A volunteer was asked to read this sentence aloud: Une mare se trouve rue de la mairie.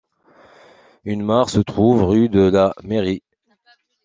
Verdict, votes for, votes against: accepted, 2, 1